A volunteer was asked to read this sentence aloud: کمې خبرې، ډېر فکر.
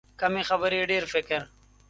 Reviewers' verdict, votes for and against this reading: accepted, 2, 0